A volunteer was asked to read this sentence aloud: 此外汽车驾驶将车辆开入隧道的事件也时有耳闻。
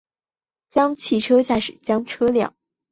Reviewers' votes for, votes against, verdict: 0, 3, rejected